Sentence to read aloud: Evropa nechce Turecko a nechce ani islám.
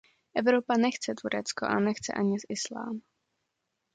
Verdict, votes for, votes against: accepted, 2, 0